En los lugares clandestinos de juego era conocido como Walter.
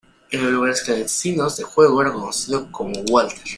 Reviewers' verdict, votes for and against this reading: rejected, 0, 2